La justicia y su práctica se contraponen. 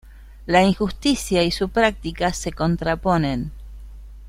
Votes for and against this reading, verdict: 0, 2, rejected